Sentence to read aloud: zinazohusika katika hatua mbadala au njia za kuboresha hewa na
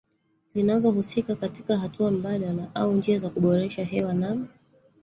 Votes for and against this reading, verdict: 1, 2, rejected